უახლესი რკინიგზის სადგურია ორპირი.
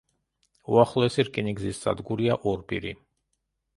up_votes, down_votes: 1, 2